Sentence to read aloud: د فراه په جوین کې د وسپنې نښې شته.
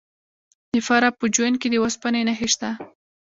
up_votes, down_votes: 2, 1